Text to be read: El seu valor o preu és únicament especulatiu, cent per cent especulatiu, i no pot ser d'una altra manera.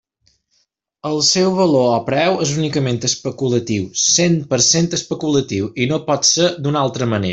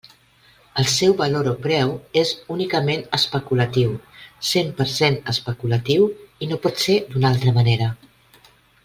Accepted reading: second